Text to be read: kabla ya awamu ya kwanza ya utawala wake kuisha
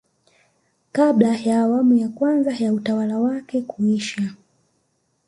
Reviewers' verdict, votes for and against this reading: accepted, 3, 1